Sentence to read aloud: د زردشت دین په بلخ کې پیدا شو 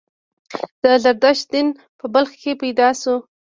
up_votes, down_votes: 2, 0